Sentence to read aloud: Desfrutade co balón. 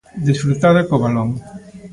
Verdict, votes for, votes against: rejected, 1, 2